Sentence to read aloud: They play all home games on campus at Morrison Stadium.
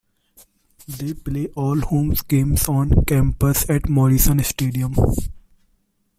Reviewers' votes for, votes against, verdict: 2, 0, accepted